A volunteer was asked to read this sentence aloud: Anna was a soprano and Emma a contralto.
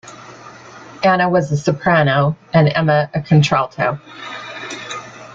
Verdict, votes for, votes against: accepted, 2, 0